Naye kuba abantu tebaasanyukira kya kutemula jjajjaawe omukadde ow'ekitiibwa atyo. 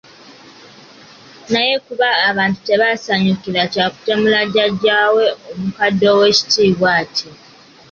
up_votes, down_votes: 2, 0